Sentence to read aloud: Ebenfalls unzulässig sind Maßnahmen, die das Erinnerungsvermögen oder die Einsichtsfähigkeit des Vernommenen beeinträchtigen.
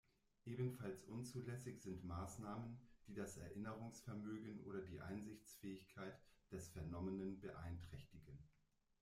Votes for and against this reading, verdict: 0, 2, rejected